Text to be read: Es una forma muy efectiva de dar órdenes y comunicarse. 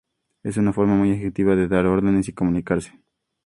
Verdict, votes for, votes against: accepted, 4, 0